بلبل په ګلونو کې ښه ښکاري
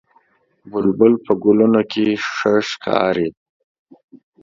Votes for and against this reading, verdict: 2, 0, accepted